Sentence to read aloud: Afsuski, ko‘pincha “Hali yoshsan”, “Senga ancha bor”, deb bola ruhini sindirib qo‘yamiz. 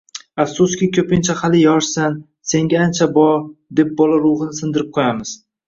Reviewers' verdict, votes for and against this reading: accepted, 2, 0